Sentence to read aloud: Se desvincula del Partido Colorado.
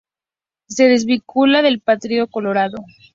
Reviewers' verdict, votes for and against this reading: accepted, 2, 0